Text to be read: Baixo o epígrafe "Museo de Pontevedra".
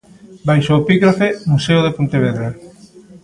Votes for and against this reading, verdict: 3, 1, accepted